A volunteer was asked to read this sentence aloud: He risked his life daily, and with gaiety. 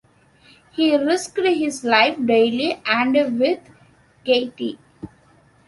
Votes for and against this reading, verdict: 1, 2, rejected